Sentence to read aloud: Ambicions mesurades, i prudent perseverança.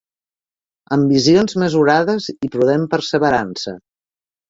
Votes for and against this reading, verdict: 1, 2, rejected